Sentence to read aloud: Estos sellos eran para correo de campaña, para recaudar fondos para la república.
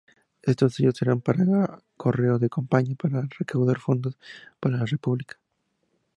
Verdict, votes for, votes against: rejected, 2, 4